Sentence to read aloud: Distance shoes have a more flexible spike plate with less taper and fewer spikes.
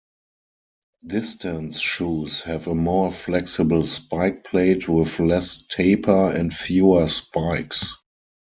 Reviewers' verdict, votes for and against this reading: accepted, 4, 0